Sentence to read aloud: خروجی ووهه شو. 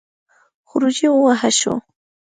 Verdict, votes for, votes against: accepted, 3, 0